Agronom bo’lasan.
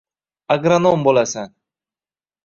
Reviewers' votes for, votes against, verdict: 2, 1, accepted